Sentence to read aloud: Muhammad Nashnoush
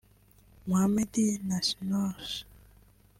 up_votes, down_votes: 0, 3